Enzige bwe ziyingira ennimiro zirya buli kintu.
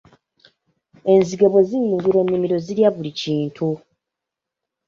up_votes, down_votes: 3, 1